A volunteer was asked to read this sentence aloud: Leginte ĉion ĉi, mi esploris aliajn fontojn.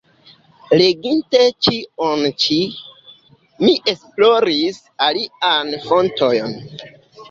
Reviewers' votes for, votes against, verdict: 0, 4, rejected